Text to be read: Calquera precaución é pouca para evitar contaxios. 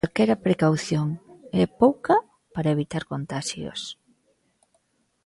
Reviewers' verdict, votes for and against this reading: rejected, 1, 2